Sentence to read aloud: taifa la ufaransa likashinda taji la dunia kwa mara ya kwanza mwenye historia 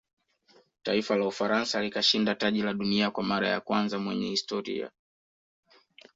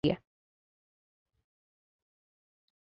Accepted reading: first